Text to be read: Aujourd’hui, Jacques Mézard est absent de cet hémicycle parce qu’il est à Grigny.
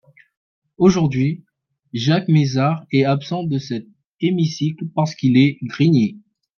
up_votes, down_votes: 0, 3